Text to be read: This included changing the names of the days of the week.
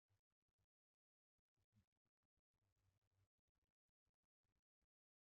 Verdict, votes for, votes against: rejected, 0, 2